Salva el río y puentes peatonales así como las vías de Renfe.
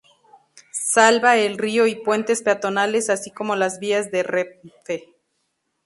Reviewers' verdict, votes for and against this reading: accepted, 2, 0